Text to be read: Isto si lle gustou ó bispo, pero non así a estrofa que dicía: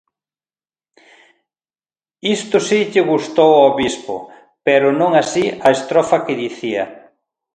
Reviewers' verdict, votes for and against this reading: accepted, 2, 0